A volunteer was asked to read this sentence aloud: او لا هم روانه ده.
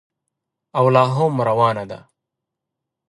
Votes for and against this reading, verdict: 2, 1, accepted